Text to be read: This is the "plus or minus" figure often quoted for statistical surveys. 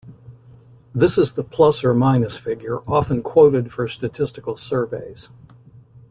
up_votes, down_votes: 2, 0